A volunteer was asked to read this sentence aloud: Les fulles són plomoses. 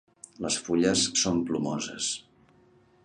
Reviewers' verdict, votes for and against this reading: accepted, 2, 0